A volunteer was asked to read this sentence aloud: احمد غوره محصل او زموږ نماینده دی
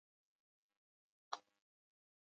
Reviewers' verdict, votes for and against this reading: rejected, 1, 2